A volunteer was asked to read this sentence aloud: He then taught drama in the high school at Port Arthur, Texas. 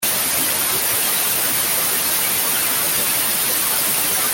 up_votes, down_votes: 0, 2